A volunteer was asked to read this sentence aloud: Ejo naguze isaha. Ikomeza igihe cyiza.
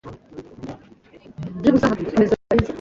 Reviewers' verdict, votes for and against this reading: rejected, 0, 2